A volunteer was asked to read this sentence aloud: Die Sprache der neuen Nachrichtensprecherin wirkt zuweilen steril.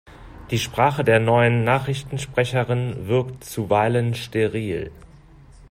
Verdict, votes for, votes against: accepted, 2, 0